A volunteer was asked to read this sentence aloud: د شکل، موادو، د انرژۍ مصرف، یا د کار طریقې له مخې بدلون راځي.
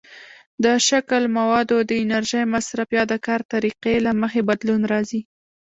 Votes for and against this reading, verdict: 1, 2, rejected